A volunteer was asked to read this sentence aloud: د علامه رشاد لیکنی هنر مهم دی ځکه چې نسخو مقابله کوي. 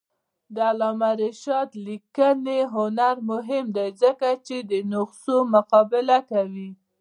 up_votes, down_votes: 2, 0